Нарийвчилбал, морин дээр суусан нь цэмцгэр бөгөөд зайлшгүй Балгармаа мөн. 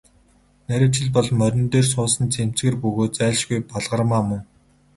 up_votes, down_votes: 0, 2